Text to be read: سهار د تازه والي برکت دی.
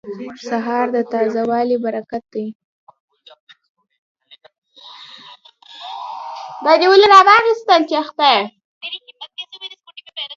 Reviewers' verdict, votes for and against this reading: rejected, 0, 2